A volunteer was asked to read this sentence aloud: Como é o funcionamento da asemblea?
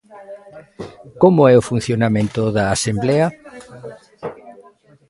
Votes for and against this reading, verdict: 1, 2, rejected